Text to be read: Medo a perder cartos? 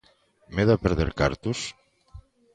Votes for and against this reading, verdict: 2, 0, accepted